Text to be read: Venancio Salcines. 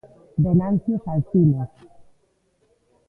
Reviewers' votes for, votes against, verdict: 2, 1, accepted